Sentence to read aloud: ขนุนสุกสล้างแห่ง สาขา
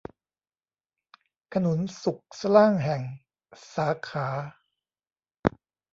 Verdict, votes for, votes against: rejected, 1, 2